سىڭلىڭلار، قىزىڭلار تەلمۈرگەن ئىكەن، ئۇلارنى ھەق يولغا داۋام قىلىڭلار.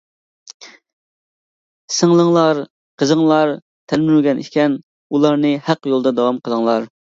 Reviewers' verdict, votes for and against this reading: rejected, 1, 2